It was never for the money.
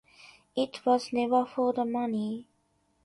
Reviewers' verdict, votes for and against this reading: accepted, 2, 0